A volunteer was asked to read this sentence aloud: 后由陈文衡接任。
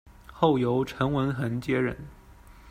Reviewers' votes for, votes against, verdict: 2, 0, accepted